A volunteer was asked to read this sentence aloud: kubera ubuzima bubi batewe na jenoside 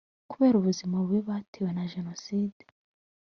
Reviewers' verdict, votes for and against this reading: accepted, 2, 0